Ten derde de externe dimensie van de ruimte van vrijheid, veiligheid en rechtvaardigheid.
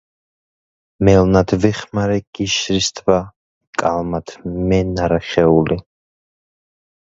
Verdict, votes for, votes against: rejected, 0, 2